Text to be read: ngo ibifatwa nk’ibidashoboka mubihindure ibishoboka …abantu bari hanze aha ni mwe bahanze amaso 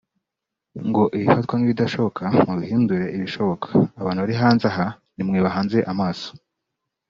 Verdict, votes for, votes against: rejected, 1, 2